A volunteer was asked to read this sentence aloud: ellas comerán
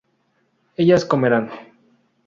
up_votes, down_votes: 4, 0